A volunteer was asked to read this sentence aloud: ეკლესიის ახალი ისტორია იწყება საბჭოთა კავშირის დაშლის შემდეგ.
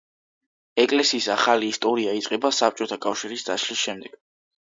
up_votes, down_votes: 2, 0